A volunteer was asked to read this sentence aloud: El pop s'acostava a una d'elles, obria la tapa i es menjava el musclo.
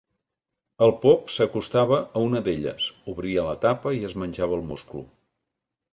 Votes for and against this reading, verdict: 2, 0, accepted